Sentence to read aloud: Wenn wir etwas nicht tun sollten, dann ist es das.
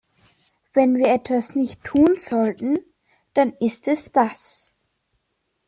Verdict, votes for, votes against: accepted, 2, 0